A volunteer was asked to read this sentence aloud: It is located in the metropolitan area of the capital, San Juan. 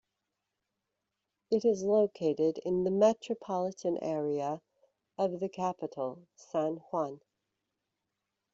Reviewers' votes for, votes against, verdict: 1, 2, rejected